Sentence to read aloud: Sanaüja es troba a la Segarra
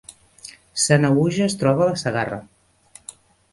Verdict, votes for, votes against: accepted, 2, 0